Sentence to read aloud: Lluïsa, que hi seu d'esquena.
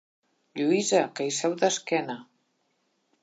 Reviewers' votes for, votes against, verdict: 3, 1, accepted